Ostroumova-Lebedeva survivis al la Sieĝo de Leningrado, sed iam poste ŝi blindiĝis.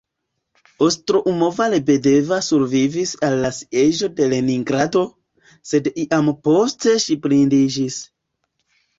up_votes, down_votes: 2, 1